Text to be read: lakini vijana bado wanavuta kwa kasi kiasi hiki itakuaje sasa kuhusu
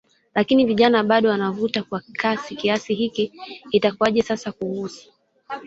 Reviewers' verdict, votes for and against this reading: accepted, 2, 0